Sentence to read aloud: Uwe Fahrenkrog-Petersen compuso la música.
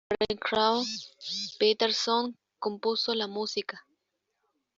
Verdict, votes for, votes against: rejected, 0, 2